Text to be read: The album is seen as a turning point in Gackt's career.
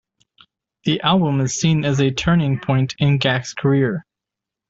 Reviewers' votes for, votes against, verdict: 2, 0, accepted